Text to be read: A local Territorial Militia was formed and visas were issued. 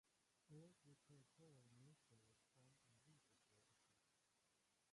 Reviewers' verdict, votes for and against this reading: rejected, 0, 2